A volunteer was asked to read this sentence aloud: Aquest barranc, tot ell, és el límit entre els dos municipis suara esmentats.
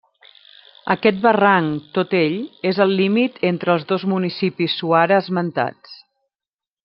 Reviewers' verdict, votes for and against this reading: accepted, 3, 0